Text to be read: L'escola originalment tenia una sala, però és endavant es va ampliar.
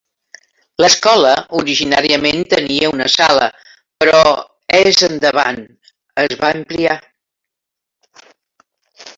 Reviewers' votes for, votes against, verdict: 2, 0, accepted